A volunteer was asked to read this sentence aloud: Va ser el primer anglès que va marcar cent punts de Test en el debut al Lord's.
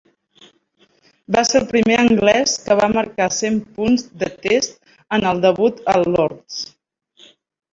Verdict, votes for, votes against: rejected, 1, 2